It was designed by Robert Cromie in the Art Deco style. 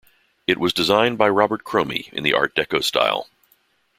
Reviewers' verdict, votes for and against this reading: accepted, 2, 0